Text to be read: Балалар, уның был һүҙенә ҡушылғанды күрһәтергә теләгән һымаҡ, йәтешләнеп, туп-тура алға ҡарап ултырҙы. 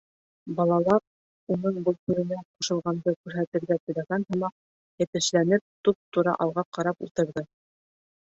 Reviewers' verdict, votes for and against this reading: accepted, 2, 0